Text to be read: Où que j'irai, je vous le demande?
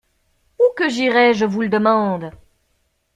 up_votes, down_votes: 2, 0